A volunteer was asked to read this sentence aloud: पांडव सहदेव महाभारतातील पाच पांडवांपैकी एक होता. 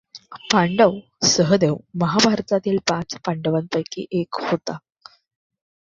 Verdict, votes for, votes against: accepted, 2, 0